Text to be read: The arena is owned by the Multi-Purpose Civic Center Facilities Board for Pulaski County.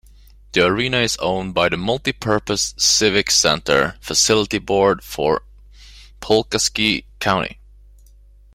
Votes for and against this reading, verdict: 1, 2, rejected